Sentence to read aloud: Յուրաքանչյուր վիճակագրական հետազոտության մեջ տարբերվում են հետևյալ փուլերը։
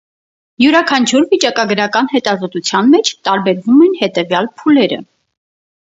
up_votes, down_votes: 4, 0